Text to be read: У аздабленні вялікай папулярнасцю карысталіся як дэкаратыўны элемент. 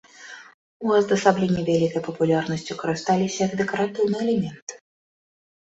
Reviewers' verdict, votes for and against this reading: rejected, 0, 2